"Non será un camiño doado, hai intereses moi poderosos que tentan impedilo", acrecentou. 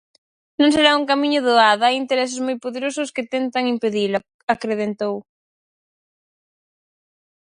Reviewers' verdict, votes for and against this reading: rejected, 0, 4